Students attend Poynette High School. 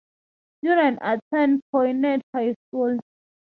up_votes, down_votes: 6, 3